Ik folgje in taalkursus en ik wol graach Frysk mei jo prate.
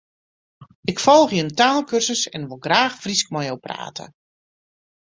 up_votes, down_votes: 2, 0